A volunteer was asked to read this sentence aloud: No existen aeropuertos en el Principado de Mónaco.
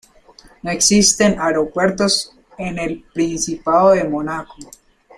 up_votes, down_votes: 2, 3